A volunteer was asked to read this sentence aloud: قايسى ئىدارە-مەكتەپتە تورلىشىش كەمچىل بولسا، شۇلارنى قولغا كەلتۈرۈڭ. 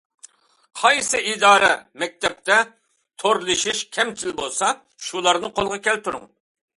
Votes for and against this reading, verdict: 2, 0, accepted